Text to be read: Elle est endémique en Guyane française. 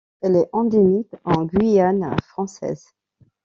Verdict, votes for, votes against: accepted, 2, 0